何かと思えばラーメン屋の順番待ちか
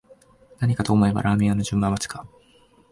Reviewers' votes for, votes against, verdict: 2, 0, accepted